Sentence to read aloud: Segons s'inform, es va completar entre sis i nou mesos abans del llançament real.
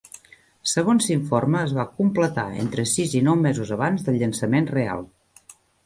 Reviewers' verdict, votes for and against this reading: rejected, 1, 2